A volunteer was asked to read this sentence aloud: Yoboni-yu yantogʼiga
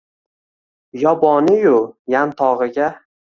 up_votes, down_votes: 2, 0